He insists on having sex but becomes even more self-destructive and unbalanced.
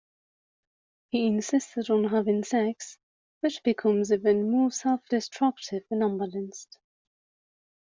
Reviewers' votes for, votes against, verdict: 2, 1, accepted